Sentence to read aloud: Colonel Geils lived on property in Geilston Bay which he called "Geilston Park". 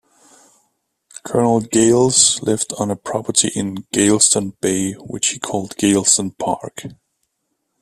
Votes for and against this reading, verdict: 2, 0, accepted